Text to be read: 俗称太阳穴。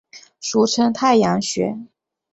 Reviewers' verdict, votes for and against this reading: accepted, 7, 1